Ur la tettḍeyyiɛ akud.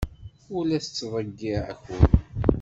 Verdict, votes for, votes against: rejected, 0, 2